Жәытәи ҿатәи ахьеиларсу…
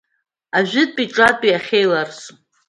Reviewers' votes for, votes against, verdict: 1, 2, rejected